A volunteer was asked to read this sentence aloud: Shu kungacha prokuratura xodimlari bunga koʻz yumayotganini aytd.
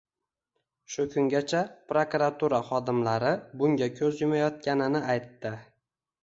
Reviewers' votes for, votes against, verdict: 0, 2, rejected